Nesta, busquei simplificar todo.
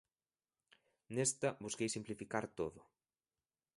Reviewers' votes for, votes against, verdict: 2, 0, accepted